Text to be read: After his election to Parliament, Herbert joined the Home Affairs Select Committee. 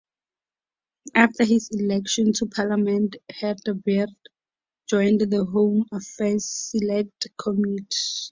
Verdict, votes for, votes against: rejected, 0, 4